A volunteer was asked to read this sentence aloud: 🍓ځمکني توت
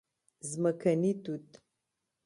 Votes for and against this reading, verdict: 2, 0, accepted